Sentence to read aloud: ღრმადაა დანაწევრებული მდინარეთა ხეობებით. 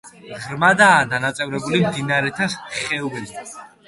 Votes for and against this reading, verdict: 2, 0, accepted